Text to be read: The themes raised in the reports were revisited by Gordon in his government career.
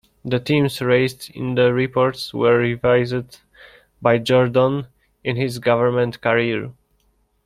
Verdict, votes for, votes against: rejected, 0, 2